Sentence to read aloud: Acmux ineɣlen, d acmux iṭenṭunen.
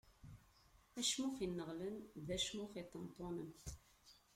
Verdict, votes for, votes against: rejected, 0, 2